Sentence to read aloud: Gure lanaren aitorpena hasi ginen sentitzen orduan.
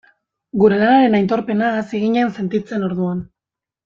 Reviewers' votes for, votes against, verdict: 0, 2, rejected